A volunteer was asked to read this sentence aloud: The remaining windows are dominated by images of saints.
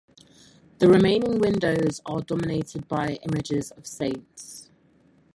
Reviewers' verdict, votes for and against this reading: accepted, 4, 2